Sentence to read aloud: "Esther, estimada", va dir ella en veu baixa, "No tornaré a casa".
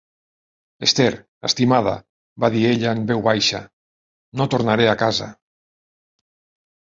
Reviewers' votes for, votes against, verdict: 2, 1, accepted